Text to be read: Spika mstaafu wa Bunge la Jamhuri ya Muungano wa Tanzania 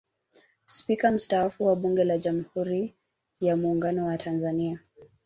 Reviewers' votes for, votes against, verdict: 2, 0, accepted